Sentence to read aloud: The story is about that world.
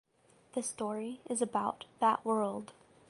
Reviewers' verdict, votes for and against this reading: accepted, 2, 0